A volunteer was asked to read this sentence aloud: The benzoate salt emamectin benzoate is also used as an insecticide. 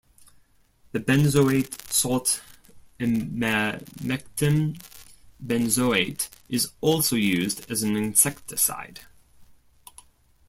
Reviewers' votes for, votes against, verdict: 1, 2, rejected